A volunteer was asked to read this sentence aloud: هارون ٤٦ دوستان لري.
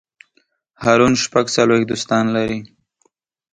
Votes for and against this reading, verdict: 0, 2, rejected